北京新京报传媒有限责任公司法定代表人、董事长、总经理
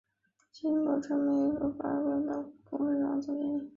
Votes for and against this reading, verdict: 0, 2, rejected